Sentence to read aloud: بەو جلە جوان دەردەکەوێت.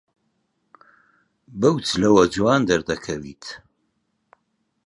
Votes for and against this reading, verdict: 0, 2, rejected